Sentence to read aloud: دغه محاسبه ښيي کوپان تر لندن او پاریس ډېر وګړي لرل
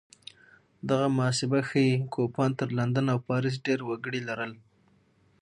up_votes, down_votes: 6, 0